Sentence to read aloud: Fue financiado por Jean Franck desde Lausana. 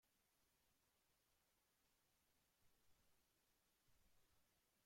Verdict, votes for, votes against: rejected, 0, 2